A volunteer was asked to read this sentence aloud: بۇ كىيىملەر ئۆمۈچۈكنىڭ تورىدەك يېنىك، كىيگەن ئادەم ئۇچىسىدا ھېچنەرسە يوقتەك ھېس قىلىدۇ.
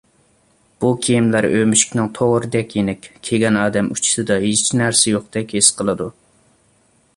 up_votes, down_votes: 2, 0